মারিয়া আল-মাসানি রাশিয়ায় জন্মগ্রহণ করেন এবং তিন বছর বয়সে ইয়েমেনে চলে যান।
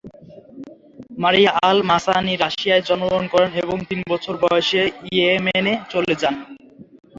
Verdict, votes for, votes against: rejected, 3, 6